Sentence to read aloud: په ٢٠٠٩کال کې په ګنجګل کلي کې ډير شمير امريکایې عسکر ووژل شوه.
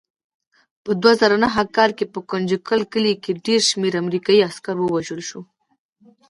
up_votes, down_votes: 0, 2